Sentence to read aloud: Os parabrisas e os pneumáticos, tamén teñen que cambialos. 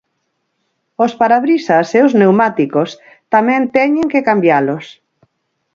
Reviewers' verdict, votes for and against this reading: rejected, 2, 6